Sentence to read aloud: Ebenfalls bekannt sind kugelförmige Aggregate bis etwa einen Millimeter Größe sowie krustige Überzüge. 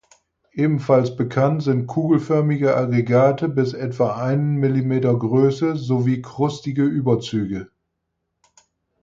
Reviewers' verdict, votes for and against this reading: accepted, 4, 0